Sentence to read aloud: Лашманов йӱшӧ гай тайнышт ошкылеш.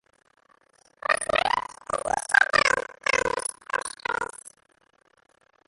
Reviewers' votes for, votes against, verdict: 0, 2, rejected